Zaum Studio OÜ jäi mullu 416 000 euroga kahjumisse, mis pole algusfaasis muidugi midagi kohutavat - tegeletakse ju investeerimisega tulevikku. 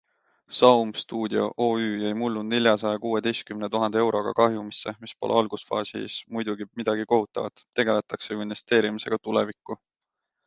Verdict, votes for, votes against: rejected, 0, 2